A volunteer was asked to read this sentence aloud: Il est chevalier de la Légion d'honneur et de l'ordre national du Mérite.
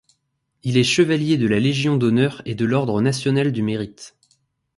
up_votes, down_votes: 2, 0